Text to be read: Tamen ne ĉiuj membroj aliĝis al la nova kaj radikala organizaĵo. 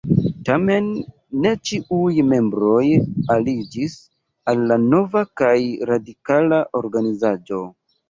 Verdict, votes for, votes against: rejected, 1, 2